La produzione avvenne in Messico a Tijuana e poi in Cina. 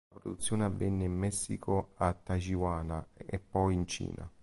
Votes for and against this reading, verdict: 0, 2, rejected